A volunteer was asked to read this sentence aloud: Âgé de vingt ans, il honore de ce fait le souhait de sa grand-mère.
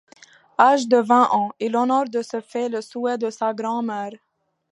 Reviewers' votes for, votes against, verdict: 2, 1, accepted